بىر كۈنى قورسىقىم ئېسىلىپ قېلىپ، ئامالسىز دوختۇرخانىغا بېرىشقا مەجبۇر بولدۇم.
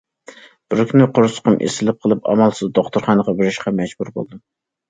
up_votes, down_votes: 2, 0